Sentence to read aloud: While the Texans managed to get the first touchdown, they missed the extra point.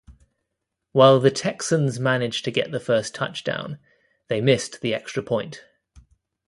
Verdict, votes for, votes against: accepted, 2, 0